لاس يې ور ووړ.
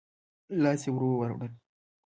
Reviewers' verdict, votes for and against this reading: accepted, 2, 0